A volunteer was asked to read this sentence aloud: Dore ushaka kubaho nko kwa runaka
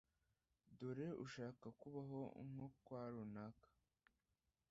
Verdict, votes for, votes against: rejected, 1, 2